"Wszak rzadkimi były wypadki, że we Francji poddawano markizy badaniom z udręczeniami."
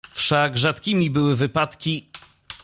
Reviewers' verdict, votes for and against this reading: rejected, 0, 2